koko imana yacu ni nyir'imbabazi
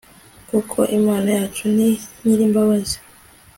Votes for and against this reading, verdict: 2, 0, accepted